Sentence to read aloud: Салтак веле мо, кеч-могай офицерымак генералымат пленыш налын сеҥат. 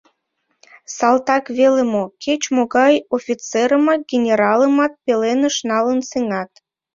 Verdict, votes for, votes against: rejected, 0, 2